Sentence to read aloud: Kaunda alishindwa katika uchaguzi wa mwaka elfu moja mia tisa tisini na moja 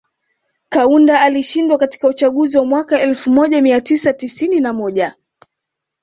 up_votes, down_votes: 2, 0